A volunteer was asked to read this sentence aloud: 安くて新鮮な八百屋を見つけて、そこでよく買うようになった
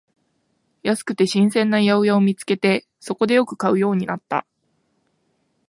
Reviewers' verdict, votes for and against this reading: accepted, 2, 0